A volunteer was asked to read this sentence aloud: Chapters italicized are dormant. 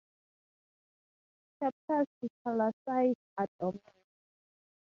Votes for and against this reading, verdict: 0, 2, rejected